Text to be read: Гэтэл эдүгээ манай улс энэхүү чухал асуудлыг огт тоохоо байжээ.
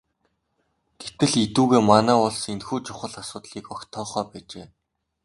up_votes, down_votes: 2, 0